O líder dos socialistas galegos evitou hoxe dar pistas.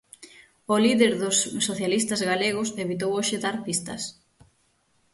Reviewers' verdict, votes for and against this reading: accepted, 6, 0